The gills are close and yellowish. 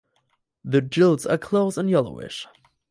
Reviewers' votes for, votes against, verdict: 2, 2, rejected